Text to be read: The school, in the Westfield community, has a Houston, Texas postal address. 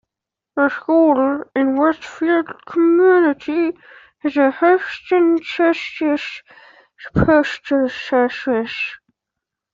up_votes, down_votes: 0, 2